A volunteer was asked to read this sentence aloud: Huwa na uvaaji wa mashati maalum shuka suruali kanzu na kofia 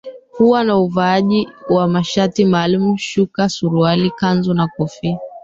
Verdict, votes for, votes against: rejected, 1, 2